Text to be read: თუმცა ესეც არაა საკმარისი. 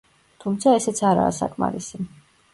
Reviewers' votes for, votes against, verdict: 0, 2, rejected